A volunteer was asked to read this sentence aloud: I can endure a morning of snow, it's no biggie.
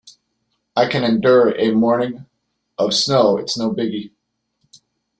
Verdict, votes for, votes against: accepted, 2, 0